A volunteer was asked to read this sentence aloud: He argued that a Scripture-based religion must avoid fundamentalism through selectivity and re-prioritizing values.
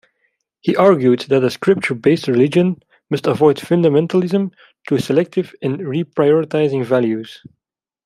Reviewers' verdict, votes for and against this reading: rejected, 0, 2